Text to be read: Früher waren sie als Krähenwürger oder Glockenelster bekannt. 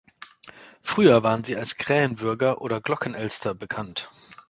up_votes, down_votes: 2, 0